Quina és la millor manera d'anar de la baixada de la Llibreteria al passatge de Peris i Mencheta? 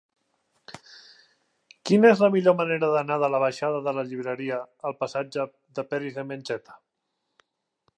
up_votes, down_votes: 0, 2